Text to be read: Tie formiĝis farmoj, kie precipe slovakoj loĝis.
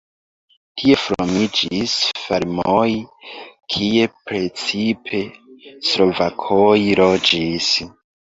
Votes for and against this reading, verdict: 1, 2, rejected